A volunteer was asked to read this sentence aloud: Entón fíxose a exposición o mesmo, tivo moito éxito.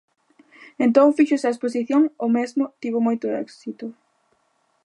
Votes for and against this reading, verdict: 2, 0, accepted